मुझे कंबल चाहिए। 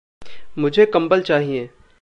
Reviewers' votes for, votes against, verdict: 2, 0, accepted